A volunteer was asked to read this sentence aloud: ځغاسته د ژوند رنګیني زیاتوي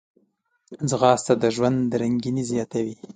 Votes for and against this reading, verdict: 2, 0, accepted